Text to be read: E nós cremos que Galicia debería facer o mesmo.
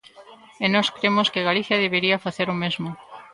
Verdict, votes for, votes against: rejected, 1, 2